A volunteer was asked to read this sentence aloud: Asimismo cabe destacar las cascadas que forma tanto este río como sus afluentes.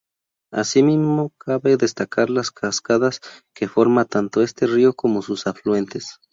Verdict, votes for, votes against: accepted, 2, 0